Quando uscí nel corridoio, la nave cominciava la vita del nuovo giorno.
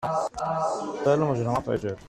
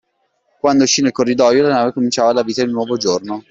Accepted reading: second